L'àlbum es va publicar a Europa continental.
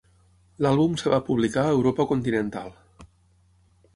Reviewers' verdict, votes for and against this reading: rejected, 6, 9